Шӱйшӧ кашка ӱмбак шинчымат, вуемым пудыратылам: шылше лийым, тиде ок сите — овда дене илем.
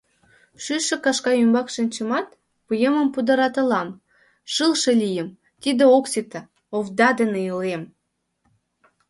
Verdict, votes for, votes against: accepted, 3, 0